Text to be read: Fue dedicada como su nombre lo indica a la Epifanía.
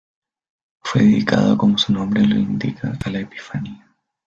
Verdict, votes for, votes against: rejected, 0, 2